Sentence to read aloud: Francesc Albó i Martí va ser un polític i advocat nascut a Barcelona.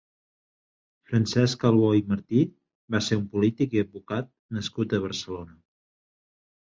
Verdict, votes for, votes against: accepted, 2, 0